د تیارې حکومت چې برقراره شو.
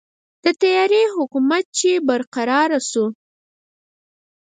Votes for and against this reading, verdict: 2, 4, rejected